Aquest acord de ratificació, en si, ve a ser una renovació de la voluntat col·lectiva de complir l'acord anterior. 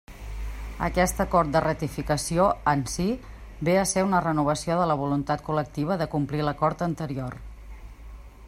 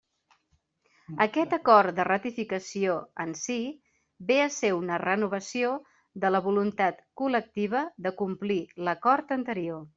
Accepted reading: second